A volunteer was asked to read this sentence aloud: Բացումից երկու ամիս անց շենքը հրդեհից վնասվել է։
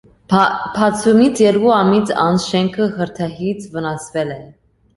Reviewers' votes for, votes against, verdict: 0, 2, rejected